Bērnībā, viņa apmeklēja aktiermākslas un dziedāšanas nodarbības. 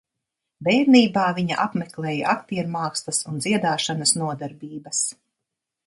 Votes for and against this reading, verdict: 2, 0, accepted